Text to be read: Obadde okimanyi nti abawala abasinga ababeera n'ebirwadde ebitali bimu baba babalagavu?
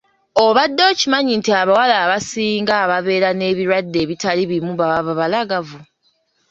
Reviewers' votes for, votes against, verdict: 2, 0, accepted